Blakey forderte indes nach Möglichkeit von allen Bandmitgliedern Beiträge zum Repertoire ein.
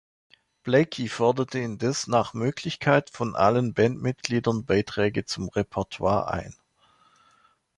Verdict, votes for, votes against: accepted, 2, 1